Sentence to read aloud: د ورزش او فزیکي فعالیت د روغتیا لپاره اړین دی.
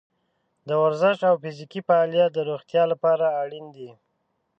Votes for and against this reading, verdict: 1, 2, rejected